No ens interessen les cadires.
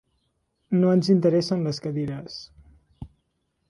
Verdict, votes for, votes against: accepted, 4, 0